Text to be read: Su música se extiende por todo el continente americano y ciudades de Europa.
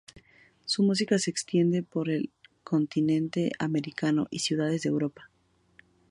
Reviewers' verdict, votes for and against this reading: rejected, 0, 4